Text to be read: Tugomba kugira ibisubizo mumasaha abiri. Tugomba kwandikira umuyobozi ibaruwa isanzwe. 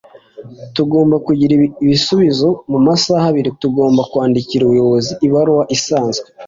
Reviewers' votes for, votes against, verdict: 2, 0, accepted